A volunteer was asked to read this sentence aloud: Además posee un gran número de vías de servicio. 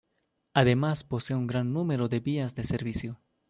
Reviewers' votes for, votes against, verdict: 2, 0, accepted